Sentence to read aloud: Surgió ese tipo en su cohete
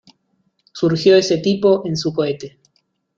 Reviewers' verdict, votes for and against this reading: accepted, 2, 0